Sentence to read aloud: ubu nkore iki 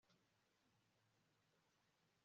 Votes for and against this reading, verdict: 1, 3, rejected